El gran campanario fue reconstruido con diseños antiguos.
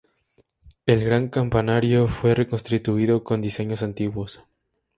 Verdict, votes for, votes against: rejected, 0, 2